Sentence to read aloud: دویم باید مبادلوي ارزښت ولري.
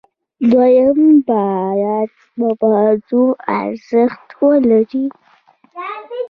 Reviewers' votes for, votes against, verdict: 1, 2, rejected